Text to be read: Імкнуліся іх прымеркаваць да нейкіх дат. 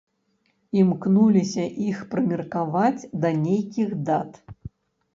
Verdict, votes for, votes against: rejected, 1, 2